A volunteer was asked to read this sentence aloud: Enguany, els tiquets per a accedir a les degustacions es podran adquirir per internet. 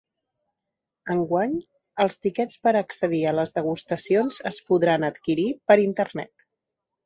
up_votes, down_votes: 2, 0